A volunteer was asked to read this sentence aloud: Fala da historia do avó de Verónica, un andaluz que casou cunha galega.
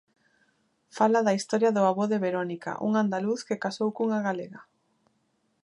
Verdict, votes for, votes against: accepted, 2, 0